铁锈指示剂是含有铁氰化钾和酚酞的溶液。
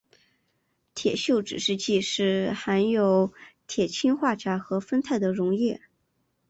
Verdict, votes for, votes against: accepted, 2, 0